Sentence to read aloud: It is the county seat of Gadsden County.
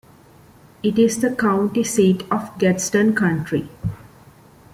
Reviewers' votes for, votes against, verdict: 0, 2, rejected